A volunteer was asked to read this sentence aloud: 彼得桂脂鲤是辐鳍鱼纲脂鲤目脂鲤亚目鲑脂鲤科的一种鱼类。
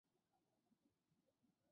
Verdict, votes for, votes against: rejected, 0, 5